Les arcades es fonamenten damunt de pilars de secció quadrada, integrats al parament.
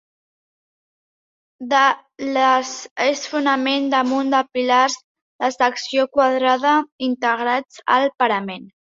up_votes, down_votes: 1, 2